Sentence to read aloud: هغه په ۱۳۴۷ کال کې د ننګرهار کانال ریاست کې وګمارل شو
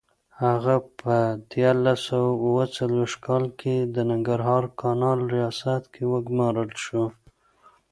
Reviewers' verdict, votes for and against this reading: rejected, 0, 2